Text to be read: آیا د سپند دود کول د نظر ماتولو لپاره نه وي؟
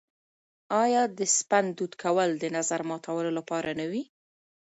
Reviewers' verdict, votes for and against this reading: accepted, 2, 0